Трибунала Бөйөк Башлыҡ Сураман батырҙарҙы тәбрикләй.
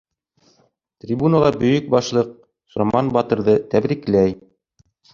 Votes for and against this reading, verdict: 1, 2, rejected